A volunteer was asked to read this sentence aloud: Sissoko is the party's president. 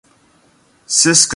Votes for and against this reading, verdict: 0, 2, rejected